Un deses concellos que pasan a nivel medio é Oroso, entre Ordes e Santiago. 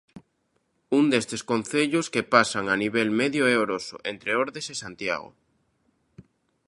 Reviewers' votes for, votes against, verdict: 0, 2, rejected